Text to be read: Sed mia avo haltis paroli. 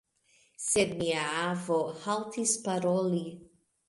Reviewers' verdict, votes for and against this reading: accepted, 2, 1